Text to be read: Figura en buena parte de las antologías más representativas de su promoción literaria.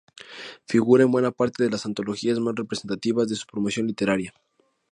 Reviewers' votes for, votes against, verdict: 2, 0, accepted